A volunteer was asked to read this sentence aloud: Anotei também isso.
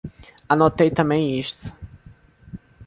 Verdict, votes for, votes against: rejected, 0, 2